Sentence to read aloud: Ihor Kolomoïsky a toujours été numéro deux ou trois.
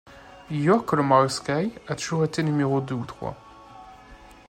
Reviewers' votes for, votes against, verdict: 1, 2, rejected